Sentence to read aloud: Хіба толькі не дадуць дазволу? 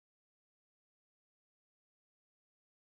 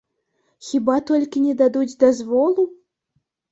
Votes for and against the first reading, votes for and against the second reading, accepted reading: 0, 2, 2, 0, second